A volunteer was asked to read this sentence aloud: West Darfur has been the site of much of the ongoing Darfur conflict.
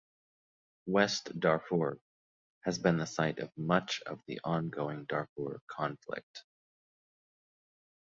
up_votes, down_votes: 1, 2